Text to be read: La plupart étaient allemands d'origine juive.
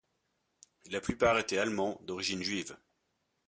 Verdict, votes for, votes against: accepted, 2, 0